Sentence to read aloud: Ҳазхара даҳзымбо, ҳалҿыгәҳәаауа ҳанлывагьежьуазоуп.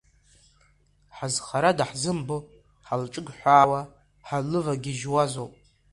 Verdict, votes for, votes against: accepted, 3, 1